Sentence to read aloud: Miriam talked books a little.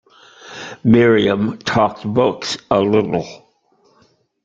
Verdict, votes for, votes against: accepted, 2, 1